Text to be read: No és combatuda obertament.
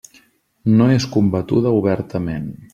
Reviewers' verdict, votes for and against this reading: accepted, 3, 0